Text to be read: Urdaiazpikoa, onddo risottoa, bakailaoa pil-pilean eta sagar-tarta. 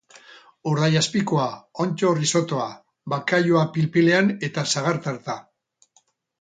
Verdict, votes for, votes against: accepted, 2, 0